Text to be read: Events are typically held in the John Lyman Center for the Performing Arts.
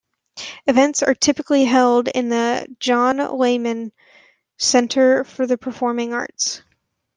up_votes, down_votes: 1, 2